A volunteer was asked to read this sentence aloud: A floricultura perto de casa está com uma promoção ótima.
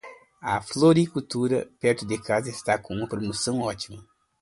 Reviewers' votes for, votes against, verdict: 2, 0, accepted